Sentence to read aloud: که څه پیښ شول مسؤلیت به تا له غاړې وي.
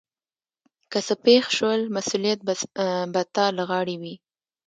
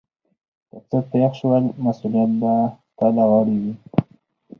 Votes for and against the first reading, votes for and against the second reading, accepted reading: 1, 2, 4, 0, second